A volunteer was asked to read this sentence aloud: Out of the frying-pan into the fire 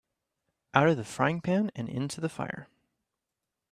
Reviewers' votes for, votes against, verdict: 0, 2, rejected